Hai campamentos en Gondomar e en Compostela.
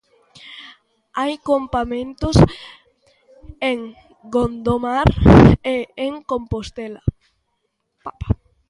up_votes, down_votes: 0, 2